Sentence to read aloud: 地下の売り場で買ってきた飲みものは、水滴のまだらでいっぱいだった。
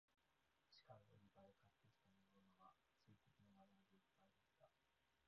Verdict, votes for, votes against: rejected, 0, 2